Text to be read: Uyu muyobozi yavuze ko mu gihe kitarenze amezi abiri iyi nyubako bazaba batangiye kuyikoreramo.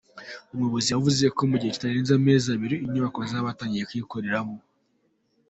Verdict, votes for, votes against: accepted, 4, 3